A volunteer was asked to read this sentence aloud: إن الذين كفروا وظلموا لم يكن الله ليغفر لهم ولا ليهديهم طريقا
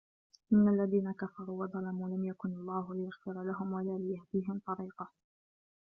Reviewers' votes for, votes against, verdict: 0, 2, rejected